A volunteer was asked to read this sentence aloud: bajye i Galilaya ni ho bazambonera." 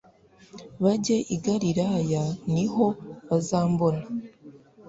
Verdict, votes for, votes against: rejected, 1, 2